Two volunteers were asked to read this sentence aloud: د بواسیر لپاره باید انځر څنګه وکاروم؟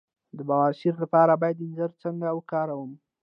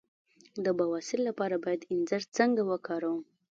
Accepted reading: first